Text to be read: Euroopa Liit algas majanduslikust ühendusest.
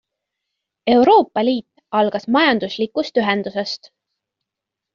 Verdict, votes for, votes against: accepted, 2, 0